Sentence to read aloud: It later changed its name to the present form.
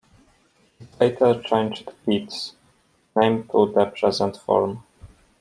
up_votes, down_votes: 1, 2